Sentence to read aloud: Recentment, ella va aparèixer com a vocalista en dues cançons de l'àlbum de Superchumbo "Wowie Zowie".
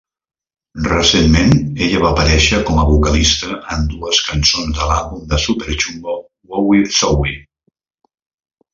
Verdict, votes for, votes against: rejected, 0, 2